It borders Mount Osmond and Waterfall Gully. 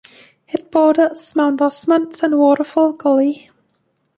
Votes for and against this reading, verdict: 2, 0, accepted